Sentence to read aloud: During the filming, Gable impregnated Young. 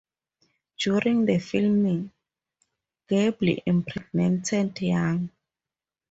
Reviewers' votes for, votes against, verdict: 2, 4, rejected